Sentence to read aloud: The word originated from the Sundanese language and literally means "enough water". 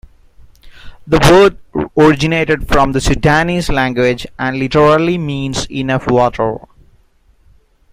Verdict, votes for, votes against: rejected, 0, 2